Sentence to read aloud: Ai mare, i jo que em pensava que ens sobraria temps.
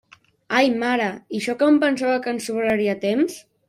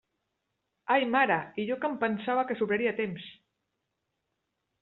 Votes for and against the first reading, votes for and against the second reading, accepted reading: 3, 0, 0, 2, first